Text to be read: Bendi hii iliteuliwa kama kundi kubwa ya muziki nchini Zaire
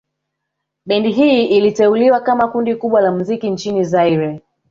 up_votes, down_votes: 2, 0